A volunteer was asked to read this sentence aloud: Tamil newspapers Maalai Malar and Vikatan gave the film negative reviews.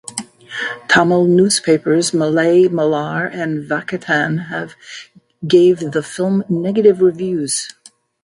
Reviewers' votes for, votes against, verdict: 0, 2, rejected